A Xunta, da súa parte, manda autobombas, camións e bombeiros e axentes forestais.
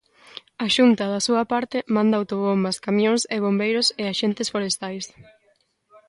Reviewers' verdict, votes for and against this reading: accepted, 2, 0